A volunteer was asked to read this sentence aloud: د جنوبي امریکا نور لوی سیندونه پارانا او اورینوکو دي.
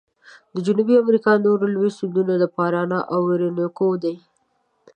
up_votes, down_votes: 1, 2